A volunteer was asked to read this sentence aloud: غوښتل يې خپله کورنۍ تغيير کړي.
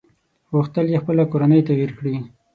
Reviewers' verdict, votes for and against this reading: accepted, 6, 0